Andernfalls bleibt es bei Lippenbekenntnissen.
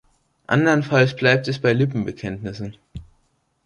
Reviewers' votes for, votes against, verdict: 2, 0, accepted